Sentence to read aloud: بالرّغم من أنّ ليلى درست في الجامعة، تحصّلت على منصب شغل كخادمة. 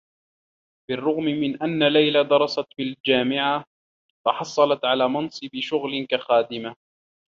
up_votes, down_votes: 2, 0